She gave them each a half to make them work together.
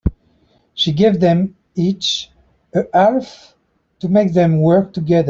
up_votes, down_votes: 0, 2